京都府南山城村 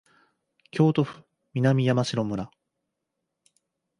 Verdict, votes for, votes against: accepted, 2, 0